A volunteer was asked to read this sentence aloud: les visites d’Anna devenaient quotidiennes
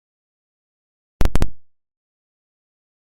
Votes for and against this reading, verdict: 0, 2, rejected